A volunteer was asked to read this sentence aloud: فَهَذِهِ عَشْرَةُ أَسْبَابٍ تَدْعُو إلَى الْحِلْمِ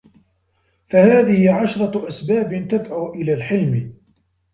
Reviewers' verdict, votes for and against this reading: rejected, 0, 2